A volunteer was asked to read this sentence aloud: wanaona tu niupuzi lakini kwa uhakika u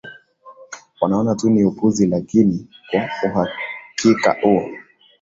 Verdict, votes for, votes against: accepted, 2, 0